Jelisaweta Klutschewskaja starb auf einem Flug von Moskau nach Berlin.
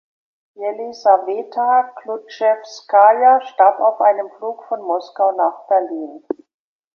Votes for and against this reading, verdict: 1, 2, rejected